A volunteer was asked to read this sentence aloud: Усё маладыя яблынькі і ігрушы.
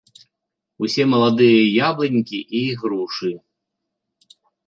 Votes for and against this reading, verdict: 1, 2, rejected